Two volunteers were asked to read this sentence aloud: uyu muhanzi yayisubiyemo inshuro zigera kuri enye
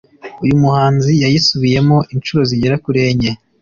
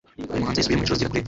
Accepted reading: first